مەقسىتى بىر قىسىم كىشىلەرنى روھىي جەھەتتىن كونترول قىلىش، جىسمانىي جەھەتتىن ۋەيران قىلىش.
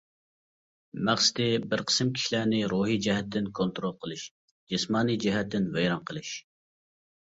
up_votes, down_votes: 2, 0